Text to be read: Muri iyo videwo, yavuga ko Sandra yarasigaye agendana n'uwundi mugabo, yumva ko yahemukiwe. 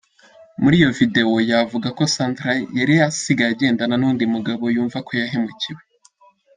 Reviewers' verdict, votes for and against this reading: rejected, 0, 2